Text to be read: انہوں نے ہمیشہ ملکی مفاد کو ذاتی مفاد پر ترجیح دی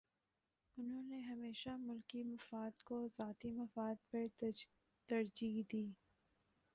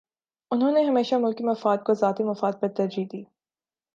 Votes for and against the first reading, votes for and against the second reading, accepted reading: 1, 2, 2, 0, second